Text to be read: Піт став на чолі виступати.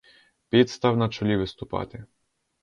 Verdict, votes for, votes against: rejected, 0, 2